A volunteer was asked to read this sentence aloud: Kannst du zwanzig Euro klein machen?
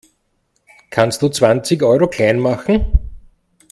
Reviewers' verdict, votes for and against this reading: accepted, 2, 0